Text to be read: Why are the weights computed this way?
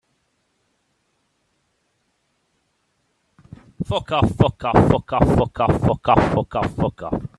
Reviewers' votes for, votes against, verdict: 0, 2, rejected